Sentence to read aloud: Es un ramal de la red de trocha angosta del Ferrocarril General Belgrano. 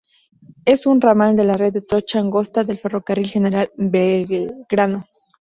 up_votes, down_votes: 0, 2